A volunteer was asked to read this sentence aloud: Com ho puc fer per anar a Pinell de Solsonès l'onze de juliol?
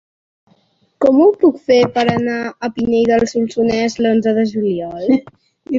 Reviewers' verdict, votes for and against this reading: rejected, 1, 2